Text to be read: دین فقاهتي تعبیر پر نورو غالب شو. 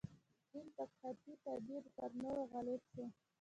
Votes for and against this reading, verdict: 1, 2, rejected